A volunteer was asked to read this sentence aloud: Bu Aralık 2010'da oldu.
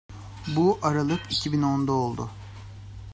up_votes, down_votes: 0, 2